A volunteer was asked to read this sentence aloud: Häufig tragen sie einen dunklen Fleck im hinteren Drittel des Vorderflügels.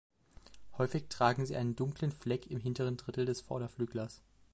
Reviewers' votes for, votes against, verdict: 0, 2, rejected